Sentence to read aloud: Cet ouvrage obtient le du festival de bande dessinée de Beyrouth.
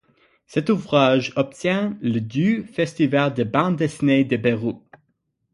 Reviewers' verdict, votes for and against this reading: accepted, 6, 0